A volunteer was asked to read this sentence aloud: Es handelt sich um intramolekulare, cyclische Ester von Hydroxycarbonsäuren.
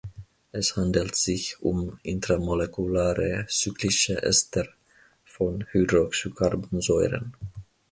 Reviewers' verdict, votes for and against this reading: accepted, 2, 1